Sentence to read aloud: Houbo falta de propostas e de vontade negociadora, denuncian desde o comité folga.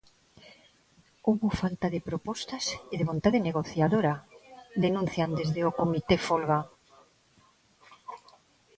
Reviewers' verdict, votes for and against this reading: accepted, 2, 0